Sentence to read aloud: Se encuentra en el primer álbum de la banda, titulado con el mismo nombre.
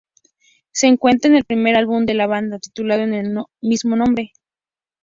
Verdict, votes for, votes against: rejected, 0, 2